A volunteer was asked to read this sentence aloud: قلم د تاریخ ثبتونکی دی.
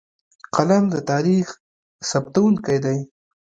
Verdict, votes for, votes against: accepted, 2, 1